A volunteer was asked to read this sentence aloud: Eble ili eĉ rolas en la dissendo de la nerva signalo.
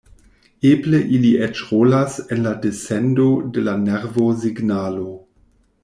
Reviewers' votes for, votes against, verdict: 0, 2, rejected